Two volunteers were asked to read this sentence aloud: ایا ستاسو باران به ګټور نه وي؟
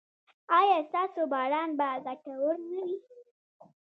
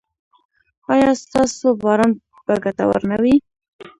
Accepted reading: second